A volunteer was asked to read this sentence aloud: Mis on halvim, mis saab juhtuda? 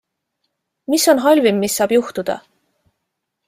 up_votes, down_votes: 2, 0